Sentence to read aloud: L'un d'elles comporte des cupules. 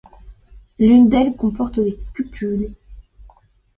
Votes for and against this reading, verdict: 2, 1, accepted